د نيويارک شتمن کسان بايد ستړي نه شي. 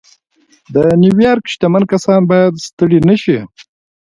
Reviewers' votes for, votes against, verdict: 2, 1, accepted